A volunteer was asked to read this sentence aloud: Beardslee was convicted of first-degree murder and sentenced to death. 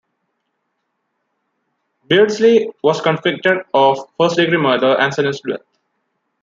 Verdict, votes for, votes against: rejected, 0, 2